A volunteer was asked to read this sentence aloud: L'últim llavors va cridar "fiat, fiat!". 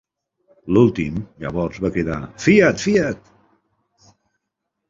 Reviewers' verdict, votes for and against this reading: accepted, 2, 0